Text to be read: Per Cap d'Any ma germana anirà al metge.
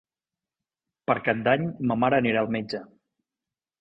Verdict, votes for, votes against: rejected, 0, 2